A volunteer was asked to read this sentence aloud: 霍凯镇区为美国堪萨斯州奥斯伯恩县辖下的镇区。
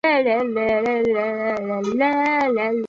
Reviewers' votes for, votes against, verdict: 0, 4, rejected